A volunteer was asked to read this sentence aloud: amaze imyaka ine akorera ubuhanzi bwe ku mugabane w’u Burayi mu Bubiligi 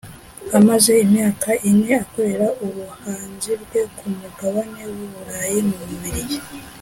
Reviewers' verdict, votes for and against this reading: accepted, 2, 0